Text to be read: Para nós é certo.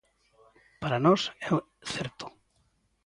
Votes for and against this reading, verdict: 0, 2, rejected